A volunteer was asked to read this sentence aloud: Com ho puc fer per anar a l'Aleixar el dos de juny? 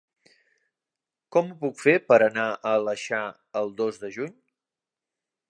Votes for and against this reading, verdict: 1, 2, rejected